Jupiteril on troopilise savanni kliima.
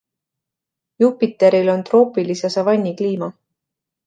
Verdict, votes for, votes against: accepted, 2, 0